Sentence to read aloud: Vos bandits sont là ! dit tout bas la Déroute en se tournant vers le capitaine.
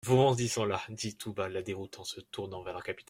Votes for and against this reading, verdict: 0, 2, rejected